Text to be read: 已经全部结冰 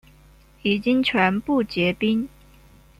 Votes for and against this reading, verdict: 2, 1, accepted